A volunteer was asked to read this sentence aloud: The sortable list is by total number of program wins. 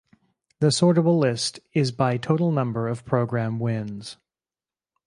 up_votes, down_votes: 2, 2